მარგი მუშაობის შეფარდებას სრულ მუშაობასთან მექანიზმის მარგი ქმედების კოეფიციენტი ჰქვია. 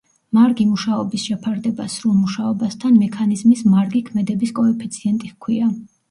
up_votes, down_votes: 1, 2